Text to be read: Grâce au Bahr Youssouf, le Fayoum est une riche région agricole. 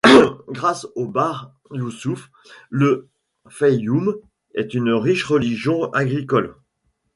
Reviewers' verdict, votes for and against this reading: rejected, 1, 2